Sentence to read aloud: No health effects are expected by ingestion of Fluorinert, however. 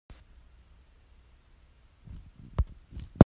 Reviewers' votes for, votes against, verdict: 0, 2, rejected